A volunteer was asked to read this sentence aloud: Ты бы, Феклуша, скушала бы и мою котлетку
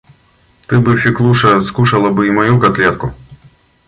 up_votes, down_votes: 2, 0